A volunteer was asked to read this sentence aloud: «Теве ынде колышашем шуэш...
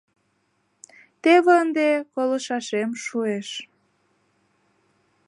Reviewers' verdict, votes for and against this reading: accepted, 2, 0